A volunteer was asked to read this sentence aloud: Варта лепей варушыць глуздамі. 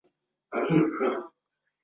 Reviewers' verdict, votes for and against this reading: rejected, 0, 3